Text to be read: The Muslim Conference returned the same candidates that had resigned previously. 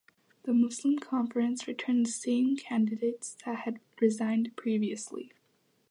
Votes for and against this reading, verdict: 2, 0, accepted